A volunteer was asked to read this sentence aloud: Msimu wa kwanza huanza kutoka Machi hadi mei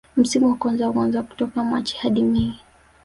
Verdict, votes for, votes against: accepted, 2, 0